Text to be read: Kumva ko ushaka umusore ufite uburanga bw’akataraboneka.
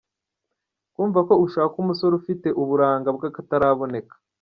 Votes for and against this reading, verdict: 2, 0, accepted